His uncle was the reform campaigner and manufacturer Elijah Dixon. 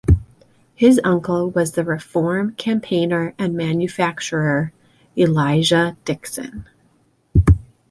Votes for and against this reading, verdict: 2, 0, accepted